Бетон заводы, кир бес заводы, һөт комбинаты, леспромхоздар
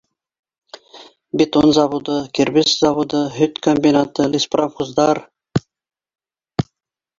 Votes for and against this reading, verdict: 2, 0, accepted